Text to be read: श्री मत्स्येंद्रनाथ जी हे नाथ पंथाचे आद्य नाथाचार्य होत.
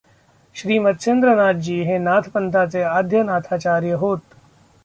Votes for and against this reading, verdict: 0, 2, rejected